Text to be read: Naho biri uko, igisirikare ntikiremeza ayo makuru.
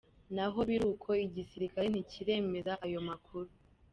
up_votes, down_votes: 2, 0